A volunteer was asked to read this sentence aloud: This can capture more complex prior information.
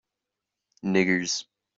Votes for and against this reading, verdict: 0, 2, rejected